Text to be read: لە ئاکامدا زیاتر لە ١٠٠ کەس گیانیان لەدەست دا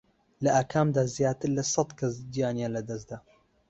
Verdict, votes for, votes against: rejected, 0, 2